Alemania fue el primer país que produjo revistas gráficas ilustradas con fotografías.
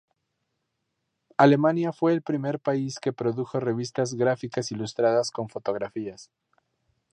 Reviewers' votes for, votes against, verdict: 2, 0, accepted